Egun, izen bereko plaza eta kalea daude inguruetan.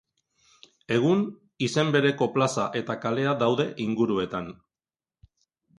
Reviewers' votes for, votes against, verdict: 2, 0, accepted